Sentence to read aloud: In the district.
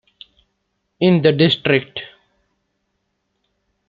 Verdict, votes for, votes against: accepted, 2, 0